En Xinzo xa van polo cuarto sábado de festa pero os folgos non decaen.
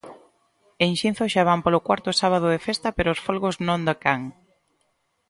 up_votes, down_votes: 1, 2